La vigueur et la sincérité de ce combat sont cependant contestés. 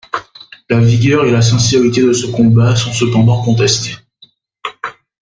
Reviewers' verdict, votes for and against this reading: accepted, 2, 0